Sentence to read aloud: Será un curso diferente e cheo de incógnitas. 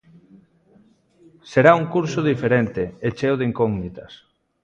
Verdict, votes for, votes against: accepted, 3, 0